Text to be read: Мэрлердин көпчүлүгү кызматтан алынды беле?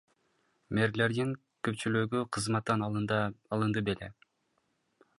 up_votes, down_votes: 0, 2